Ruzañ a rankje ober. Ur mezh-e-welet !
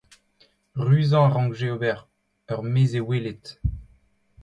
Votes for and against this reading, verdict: 2, 0, accepted